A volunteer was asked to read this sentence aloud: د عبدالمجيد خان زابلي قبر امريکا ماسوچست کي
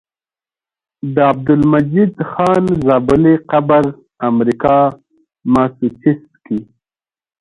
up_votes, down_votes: 2, 0